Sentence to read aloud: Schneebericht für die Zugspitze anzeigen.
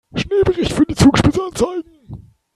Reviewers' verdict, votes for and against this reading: rejected, 0, 3